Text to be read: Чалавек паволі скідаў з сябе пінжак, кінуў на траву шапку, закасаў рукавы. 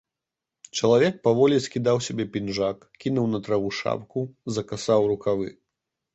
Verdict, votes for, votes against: accepted, 2, 0